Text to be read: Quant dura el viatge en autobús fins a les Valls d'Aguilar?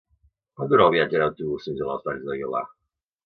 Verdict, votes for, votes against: rejected, 0, 2